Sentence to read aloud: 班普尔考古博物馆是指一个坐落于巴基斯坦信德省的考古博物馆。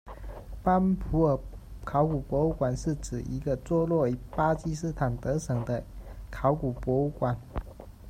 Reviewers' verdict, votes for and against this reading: rejected, 1, 2